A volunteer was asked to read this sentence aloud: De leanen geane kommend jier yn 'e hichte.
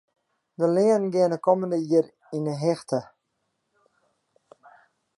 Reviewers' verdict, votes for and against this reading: rejected, 1, 2